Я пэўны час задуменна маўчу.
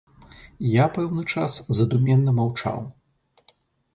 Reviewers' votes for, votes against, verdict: 0, 2, rejected